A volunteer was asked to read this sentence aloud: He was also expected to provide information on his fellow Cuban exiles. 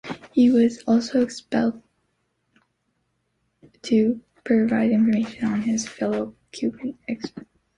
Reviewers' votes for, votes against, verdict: 0, 2, rejected